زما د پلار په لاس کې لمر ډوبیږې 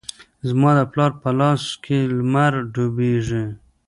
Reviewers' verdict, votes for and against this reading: accepted, 2, 1